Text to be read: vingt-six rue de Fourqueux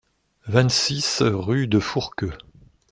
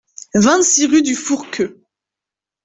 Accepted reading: first